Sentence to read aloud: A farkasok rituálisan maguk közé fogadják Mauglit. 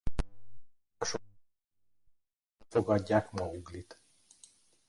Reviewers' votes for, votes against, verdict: 0, 2, rejected